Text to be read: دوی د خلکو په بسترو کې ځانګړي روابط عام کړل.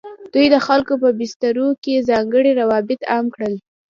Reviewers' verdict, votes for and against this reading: accepted, 2, 0